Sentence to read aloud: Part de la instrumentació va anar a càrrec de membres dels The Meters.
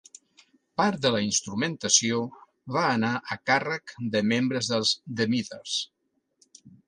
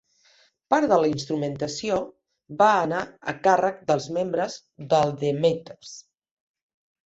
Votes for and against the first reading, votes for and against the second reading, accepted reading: 2, 0, 1, 2, first